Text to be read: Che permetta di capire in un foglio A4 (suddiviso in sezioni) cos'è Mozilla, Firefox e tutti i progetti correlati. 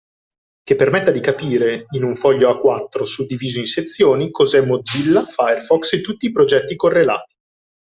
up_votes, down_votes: 0, 2